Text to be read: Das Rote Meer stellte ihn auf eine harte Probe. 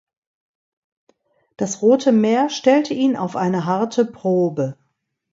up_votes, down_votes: 2, 0